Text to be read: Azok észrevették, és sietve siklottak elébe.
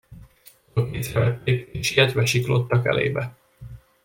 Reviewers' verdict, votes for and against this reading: rejected, 1, 2